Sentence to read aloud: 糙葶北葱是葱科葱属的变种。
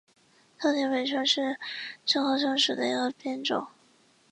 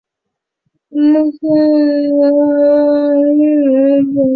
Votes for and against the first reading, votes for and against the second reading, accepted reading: 2, 0, 0, 2, first